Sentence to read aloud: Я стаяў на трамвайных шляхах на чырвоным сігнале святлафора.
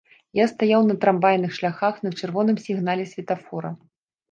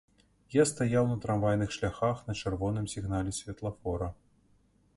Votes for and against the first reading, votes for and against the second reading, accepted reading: 1, 2, 2, 0, second